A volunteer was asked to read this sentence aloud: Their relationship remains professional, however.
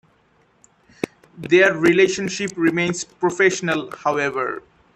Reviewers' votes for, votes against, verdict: 2, 0, accepted